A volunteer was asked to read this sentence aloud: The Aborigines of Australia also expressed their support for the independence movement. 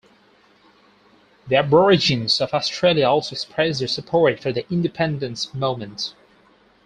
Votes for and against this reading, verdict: 2, 2, rejected